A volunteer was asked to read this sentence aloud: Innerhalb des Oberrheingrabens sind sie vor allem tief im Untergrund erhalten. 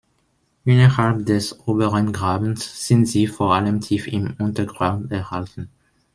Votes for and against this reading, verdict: 0, 2, rejected